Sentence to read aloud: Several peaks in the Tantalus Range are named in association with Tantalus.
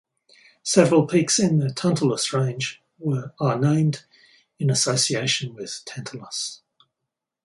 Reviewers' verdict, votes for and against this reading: rejected, 2, 4